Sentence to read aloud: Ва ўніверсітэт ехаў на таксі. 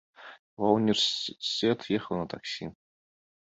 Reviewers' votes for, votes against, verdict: 0, 2, rejected